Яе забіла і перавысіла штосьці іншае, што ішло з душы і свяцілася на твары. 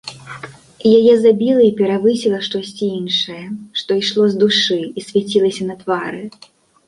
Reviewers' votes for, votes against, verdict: 2, 0, accepted